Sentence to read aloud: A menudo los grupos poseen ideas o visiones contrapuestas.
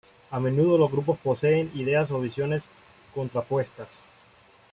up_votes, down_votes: 2, 0